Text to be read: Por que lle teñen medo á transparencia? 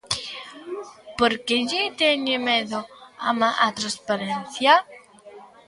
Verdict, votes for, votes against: rejected, 0, 2